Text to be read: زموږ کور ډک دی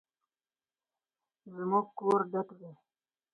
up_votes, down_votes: 4, 2